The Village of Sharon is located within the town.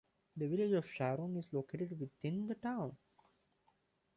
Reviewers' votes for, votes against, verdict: 2, 1, accepted